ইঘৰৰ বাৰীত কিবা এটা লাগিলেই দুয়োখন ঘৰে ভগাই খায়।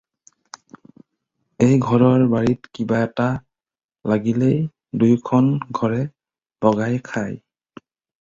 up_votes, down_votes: 0, 4